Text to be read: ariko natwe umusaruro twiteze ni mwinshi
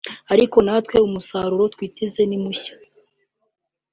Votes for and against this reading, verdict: 0, 2, rejected